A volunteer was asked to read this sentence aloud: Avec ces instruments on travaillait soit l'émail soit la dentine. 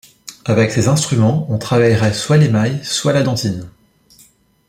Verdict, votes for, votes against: rejected, 1, 2